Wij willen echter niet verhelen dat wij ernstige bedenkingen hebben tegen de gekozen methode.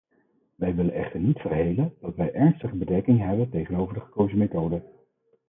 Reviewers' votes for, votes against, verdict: 0, 4, rejected